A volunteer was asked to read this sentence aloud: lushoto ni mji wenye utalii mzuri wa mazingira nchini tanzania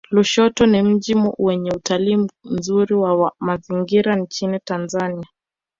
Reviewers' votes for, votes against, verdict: 1, 2, rejected